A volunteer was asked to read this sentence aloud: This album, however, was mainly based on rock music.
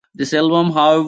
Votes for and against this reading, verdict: 0, 2, rejected